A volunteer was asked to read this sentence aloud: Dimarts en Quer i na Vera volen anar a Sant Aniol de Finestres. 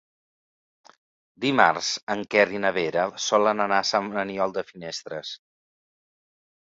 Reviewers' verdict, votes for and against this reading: rejected, 1, 2